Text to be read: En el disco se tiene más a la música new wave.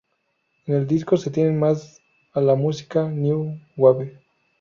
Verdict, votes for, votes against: rejected, 2, 2